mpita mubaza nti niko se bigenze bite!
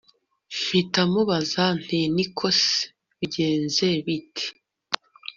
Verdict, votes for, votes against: rejected, 1, 2